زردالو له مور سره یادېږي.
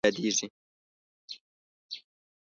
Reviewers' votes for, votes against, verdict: 1, 2, rejected